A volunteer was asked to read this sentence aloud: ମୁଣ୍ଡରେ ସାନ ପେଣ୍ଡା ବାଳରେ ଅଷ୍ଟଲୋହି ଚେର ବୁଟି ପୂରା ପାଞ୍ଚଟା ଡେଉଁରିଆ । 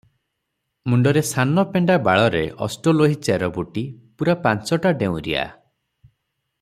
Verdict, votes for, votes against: rejected, 0, 3